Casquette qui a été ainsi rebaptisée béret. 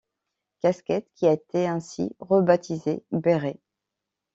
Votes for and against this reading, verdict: 2, 0, accepted